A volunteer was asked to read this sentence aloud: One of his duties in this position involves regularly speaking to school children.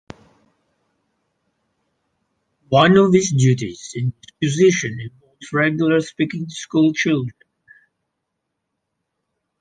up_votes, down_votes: 0, 2